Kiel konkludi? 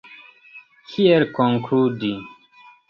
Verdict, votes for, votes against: accepted, 2, 0